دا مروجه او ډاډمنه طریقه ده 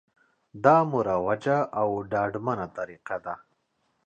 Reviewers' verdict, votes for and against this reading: accepted, 2, 0